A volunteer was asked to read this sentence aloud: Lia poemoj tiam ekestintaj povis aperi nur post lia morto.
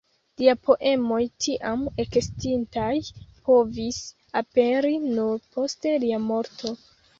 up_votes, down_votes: 0, 2